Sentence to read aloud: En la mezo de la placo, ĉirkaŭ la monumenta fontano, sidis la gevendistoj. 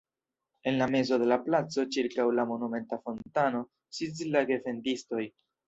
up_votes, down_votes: 2, 1